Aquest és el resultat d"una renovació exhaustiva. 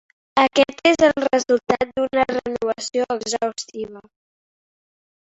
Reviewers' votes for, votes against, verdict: 2, 0, accepted